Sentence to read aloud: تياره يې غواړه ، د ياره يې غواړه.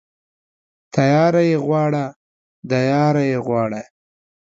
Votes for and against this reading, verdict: 2, 0, accepted